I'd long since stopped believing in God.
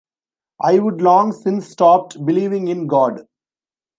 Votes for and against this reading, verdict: 0, 2, rejected